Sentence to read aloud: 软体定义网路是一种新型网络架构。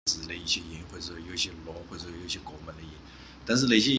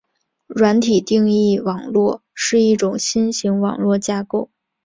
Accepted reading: second